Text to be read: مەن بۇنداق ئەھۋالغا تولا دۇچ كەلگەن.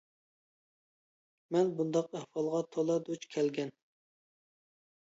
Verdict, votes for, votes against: accepted, 2, 0